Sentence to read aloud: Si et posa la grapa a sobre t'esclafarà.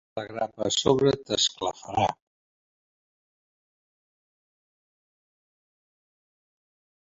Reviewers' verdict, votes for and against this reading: rejected, 0, 2